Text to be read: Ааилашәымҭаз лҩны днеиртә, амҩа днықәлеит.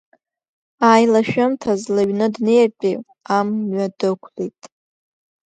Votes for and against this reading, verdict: 0, 2, rejected